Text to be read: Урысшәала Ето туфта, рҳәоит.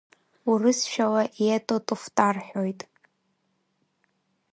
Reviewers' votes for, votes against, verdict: 1, 2, rejected